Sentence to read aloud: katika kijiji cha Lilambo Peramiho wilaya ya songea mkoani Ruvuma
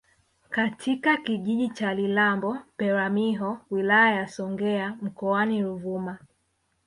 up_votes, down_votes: 1, 2